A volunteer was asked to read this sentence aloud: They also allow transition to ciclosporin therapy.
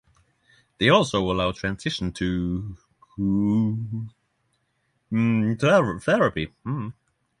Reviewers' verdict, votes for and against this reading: rejected, 0, 6